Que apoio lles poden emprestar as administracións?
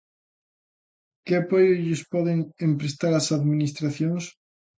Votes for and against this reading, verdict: 2, 0, accepted